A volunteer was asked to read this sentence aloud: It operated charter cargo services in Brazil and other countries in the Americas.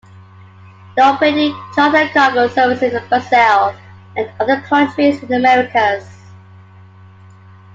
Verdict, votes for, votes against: rejected, 1, 2